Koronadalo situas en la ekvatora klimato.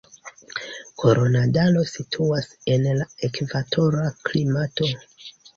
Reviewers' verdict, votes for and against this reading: accepted, 2, 0